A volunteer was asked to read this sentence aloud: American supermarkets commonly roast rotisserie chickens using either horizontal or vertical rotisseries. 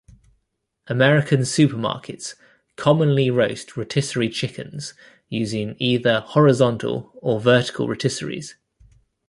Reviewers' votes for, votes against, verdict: 2, 0, accepted